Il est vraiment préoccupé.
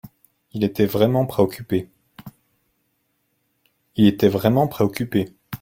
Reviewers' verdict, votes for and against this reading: rejected, 0, 2